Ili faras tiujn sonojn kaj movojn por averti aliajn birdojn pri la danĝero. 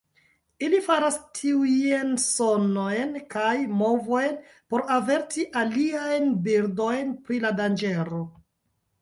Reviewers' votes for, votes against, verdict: 1, 2, rejected